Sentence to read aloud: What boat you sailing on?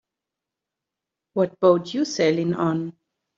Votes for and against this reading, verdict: 2, 0, accepted